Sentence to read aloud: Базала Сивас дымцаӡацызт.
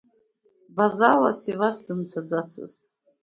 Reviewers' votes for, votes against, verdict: 2, 1, accepted